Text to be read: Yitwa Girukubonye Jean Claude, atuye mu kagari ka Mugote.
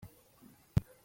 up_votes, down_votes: 2, 1